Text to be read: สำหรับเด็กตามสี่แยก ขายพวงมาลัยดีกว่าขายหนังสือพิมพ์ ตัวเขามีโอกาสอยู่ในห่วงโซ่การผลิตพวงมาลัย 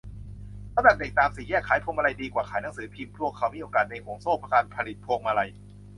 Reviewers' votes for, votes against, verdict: 0, 2, rejected